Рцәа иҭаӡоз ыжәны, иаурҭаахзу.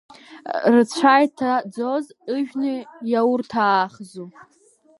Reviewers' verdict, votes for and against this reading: rejected, 1, 2